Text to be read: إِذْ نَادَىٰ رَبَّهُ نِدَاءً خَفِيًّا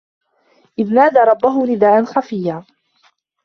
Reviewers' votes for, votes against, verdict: 0, 2, rejected